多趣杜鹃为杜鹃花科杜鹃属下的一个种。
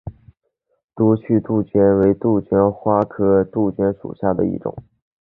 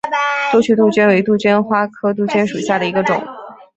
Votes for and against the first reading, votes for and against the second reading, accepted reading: 7, 0, 1, 2, first